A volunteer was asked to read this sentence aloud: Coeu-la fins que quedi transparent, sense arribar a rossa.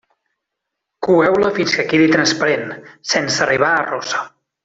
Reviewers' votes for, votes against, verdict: 2, 1, accepted